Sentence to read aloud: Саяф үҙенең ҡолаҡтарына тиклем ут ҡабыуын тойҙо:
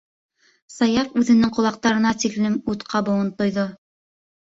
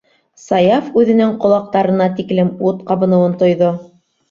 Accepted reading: first